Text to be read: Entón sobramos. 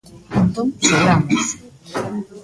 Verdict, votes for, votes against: rejected, 0, 2